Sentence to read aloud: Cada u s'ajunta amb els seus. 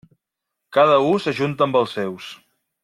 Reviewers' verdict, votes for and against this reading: accepted, 2, 0